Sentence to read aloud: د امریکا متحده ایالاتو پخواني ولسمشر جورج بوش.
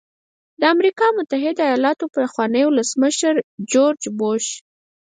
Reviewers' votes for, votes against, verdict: 0, 4, rejected